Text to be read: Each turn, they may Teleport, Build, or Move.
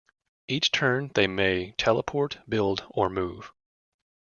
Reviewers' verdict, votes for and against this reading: accepted, 2, 0